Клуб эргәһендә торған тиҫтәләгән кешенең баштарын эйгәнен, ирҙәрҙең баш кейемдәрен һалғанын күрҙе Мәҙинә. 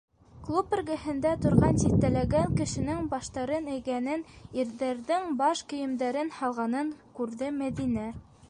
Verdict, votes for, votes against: accepted, 2, 0